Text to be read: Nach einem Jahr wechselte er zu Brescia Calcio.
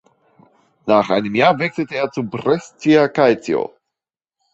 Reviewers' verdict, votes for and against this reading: accepted, 2, 0